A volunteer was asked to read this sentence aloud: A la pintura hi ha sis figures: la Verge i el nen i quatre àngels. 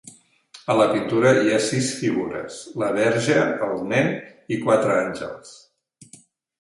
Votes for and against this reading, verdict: 0, 2, rejected